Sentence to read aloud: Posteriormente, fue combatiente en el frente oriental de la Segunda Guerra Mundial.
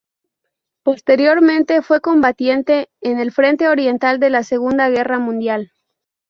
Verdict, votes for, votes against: rejected, 2, 2